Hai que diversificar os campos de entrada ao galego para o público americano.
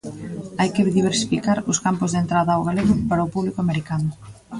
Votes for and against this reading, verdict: 2, 0, accepted